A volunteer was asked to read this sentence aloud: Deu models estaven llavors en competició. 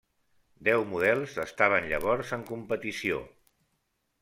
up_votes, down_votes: 3, 0